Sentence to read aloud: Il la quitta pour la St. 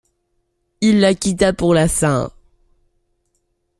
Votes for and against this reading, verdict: 2, 0, accepted